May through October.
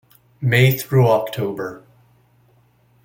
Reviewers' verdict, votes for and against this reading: rejected, 1, 2